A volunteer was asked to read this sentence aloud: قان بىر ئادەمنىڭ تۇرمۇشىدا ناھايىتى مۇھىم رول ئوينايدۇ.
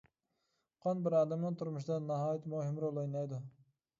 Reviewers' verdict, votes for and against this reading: accepted, 2, 0